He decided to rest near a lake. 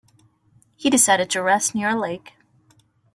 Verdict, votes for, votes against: accepted, 2, 0